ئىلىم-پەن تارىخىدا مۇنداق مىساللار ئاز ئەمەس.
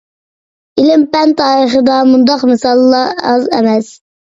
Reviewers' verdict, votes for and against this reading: accepted, 2, 0